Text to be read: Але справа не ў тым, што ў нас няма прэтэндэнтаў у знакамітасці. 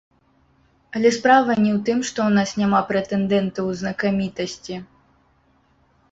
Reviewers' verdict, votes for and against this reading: rejected, 1, 2